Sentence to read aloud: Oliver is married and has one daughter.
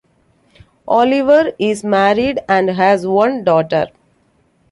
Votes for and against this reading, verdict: 2, 0, accepted